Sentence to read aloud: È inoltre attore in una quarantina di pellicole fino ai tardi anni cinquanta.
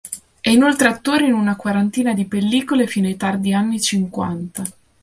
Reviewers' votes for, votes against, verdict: 2, 0, accepted